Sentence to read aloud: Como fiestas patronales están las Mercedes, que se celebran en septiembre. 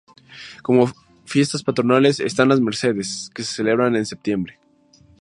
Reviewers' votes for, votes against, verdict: 2, 0, accepted